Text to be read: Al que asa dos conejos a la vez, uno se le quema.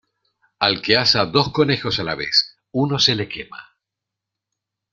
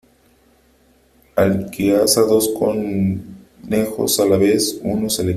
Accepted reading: first